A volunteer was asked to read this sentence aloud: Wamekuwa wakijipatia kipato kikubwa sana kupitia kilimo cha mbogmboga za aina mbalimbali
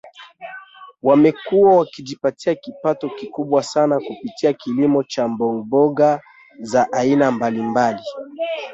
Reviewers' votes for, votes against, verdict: 0, 2, rejected